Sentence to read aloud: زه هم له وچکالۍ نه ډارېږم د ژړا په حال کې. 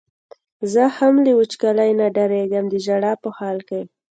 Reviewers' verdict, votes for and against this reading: accepted, 2, 0